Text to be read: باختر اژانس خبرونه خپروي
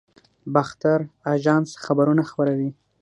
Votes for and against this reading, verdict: 3, 6, rejected